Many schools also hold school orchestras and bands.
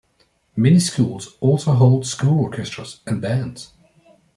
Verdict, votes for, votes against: accepted, 2, 0